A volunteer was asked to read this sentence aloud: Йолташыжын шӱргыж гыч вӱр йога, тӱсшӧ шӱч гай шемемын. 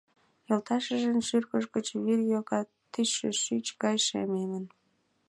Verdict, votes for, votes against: accepted, 2, 0